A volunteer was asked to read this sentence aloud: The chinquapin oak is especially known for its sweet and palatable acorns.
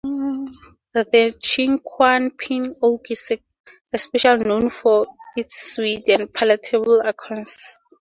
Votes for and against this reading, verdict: 2, 2, rejected